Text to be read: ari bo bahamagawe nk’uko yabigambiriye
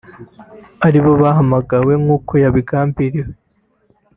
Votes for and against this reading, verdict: 0, 3, rejected